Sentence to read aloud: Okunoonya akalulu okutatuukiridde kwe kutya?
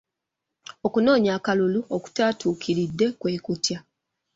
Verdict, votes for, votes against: rejected, 1, 2